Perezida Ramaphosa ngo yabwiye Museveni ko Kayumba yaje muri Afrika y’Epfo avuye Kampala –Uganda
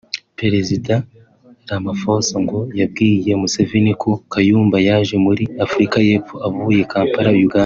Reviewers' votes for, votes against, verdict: 1, 2, rejected